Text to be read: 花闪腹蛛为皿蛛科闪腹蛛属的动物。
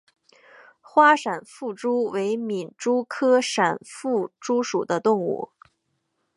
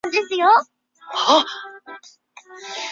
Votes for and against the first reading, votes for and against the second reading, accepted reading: 5, 0, 4, 8, first